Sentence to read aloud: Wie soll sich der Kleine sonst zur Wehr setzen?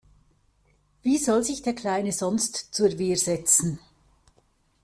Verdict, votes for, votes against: accepted, 2, 0